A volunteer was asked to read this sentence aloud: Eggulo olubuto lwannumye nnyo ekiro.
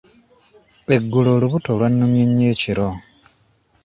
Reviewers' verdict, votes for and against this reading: accepted, 2, 0